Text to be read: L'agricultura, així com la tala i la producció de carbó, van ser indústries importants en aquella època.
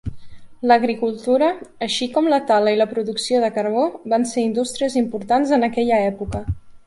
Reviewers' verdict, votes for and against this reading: accepted, 3, 0